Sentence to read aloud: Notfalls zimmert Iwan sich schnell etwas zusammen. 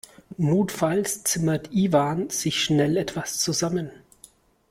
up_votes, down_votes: 2, 0